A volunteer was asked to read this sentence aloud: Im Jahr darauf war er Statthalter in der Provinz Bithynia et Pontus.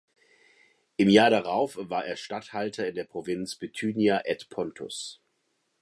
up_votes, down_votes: 2, 0